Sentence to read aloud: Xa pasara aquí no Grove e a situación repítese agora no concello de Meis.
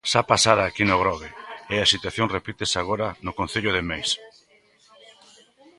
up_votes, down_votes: 2, 0